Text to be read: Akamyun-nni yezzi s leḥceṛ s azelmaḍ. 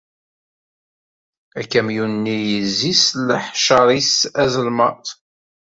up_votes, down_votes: 1, 2